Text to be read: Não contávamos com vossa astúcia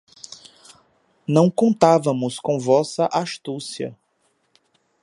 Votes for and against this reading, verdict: 2, 0, accepted